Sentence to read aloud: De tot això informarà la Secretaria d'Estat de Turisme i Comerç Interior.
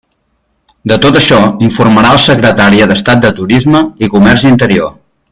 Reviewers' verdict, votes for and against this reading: rejected, 0, 2